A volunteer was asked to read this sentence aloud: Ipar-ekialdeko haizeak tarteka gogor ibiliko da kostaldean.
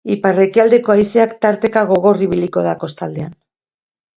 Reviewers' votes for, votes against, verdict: 3, 0, accepted